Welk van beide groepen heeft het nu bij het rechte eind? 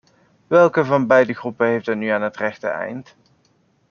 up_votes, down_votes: 0, 2